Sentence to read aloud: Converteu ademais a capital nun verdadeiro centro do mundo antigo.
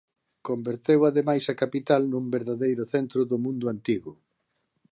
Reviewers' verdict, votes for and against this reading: accepted, 2, 0